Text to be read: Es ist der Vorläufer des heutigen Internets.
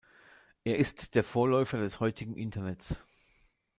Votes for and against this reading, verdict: 0, 2, rejected